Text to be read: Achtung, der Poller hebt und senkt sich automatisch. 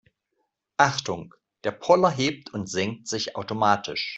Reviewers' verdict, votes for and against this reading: accepted, 2, 0